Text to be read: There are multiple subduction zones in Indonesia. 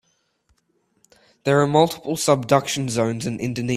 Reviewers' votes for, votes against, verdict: 0, 2, rejected